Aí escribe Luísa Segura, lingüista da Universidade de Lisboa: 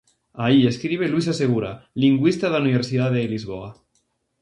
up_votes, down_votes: 2, 2